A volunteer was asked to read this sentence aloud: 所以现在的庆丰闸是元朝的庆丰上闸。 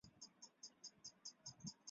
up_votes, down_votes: 1, 2